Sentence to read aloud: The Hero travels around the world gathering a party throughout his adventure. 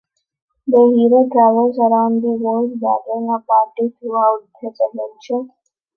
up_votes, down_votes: 2, 1